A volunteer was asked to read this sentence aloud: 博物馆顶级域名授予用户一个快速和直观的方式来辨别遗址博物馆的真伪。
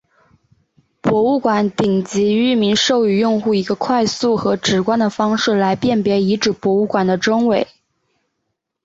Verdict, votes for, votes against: accepted, 2, 0